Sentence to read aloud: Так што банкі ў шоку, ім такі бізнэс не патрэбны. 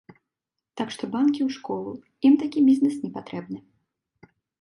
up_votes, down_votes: 0, 3